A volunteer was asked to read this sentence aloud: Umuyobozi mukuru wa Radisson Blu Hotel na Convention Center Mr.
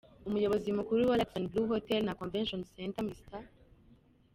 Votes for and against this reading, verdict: 2, 1, accepted